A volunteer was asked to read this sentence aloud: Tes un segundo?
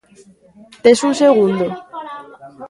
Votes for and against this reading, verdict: 0, 2, rejected